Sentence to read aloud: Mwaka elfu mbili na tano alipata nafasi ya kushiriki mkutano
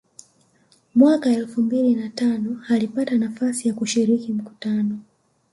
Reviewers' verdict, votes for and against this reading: accepted, 2, 0